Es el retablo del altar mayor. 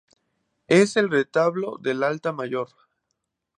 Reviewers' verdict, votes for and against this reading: rejected, 0, 2